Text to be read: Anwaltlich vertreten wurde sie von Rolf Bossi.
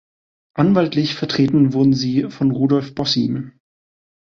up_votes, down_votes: 1, 2